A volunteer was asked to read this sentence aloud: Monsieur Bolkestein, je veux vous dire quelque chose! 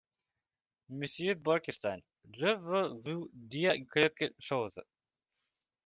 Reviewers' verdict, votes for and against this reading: rejected, 0, 2